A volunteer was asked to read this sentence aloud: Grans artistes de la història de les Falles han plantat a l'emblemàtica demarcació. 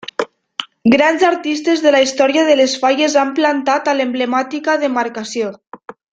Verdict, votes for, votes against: accepted, 2, 0